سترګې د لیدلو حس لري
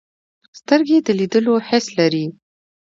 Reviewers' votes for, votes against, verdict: 2, 0, accepted